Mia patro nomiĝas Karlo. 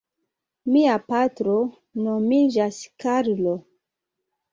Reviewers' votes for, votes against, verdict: 2, 0, accepted